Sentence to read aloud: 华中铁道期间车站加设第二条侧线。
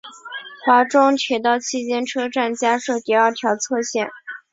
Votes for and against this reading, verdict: 3, 0, accepted